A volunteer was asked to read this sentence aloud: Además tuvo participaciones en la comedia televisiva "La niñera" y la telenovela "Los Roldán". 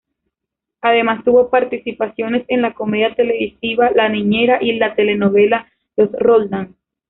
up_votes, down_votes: 0, 2